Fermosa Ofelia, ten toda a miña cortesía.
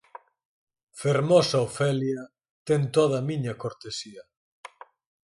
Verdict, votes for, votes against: accepted, 4, 0